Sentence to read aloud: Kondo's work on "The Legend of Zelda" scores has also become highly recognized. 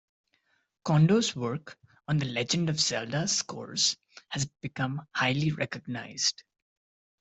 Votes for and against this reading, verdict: 2, 1, accepted